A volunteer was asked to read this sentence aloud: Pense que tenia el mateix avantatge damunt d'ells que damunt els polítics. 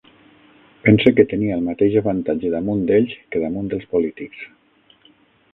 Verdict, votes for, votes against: accepted, 6, 0